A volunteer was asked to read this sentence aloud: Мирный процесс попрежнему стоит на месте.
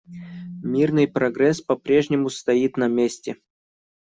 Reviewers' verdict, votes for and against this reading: rejected, 0, 2